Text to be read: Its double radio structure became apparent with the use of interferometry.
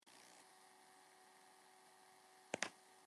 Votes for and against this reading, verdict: 0, 3, rejected